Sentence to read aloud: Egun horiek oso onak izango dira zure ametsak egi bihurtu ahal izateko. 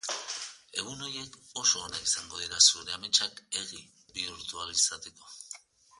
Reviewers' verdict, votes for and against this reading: rejected, 1, 2